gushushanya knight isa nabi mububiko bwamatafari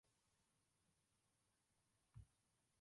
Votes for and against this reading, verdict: 0, 2, rejected